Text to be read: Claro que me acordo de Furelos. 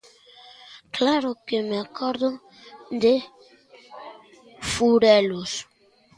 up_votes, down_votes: 1, 2